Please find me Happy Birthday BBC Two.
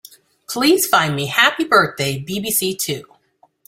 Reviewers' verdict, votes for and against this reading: accepted, 2, 0